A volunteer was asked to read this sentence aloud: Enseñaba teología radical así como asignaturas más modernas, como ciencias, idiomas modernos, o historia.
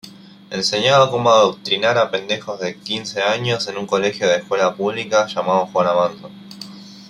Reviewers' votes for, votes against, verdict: 1, 2, rejected